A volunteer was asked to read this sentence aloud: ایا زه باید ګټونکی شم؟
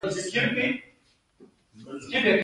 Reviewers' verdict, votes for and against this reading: accepted, 2, 0